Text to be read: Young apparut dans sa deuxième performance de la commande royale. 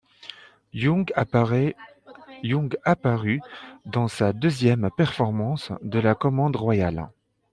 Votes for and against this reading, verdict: 0, 2, rejected